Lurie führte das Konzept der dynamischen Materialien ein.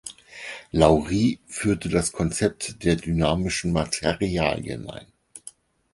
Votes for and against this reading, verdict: 0, 4, rejected